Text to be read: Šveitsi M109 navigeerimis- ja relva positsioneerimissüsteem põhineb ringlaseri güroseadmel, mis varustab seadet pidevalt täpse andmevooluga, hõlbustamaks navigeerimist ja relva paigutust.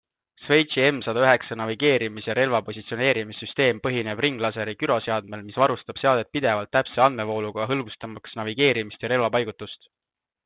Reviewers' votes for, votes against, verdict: 0, 2, rejected